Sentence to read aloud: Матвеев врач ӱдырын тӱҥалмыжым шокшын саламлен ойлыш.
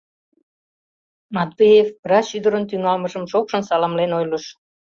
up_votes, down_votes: 2, 0